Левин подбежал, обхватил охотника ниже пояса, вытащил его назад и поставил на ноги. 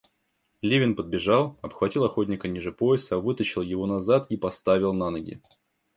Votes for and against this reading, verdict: 1, 2, rejected